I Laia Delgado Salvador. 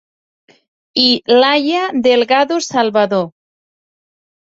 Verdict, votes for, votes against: accepted, 4, 0